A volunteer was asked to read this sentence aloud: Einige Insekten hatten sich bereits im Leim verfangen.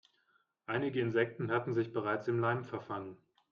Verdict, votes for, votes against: accepted, 2, 0